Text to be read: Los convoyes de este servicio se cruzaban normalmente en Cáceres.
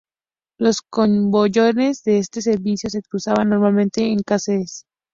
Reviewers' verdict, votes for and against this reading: rejected, 0, 2